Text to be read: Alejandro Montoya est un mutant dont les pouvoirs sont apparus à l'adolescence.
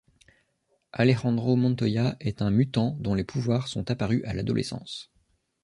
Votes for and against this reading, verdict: 2, 0, accepted